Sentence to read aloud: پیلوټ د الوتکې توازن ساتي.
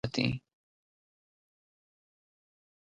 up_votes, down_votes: 0, 2